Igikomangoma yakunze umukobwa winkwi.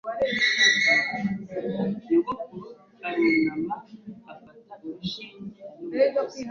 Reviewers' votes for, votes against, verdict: 1, 2, rejected